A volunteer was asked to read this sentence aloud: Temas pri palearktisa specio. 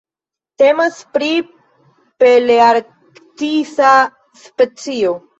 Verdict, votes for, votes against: rejected, 1, 2